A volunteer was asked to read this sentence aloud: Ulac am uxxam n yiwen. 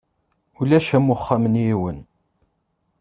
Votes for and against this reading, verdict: 2, 0, accepted